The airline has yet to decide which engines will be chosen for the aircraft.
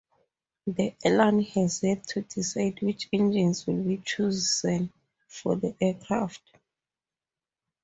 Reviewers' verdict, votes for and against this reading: rejected, 0, 2